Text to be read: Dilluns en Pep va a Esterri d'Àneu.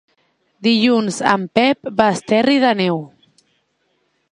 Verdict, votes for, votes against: rejected, 0, 2